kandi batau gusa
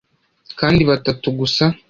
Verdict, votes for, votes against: rejected, 1, 2